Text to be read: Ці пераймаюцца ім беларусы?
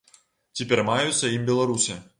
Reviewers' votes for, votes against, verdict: 2, 0, accepted